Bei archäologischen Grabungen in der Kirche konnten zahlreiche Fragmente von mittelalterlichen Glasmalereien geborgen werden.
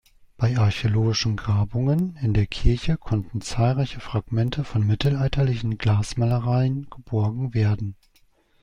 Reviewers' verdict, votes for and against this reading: accepted, 2, 0